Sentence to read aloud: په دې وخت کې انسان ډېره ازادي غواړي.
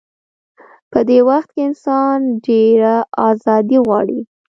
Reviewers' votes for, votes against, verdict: 2, 0, accepted